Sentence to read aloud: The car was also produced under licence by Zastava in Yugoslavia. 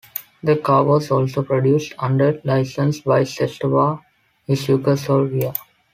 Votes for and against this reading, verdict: 0, 2, rejected